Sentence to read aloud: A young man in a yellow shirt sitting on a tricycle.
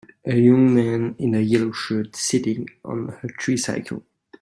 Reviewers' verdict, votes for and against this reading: accepted, 2, 0